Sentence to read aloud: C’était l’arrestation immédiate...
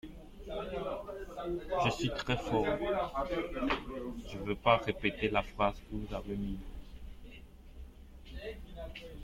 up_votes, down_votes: 0, 2